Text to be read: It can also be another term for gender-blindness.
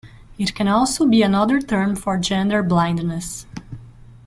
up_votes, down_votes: 2, 0